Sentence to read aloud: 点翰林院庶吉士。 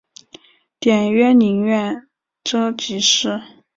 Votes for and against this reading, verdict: 2, 3, rejected